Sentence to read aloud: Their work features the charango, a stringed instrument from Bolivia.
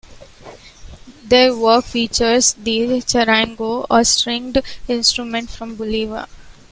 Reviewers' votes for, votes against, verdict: 0, 2, rejected